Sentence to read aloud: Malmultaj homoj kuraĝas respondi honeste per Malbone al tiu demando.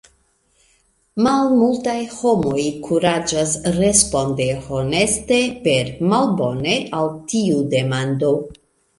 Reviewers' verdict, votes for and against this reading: rejected, 0, 2